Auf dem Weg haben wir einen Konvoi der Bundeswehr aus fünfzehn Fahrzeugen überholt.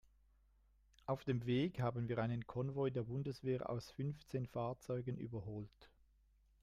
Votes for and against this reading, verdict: 0, 2, rejected